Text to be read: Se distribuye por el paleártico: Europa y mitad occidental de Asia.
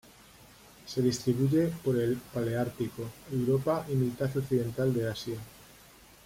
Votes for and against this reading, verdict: 2, 0, accepted